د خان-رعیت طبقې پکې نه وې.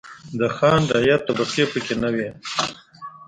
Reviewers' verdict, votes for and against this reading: rejected, 1, 2